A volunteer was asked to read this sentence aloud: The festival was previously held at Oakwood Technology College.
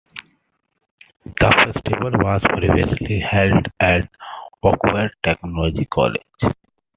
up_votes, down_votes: 1, 2